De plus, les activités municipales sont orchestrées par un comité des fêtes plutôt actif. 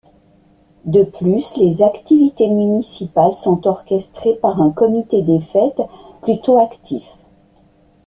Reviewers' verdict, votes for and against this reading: accepted, 2, 0